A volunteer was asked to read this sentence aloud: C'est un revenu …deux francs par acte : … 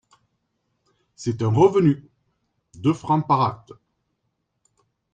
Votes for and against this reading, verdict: 2, 0, accepted